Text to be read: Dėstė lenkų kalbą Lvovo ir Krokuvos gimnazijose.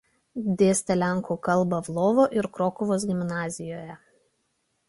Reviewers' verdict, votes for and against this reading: rejected, 0, 2